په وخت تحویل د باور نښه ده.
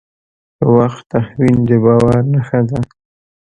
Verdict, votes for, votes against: rejected, 1, 2